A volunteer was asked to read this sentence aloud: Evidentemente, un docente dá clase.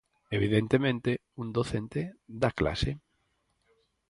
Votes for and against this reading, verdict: 4, 0, accepted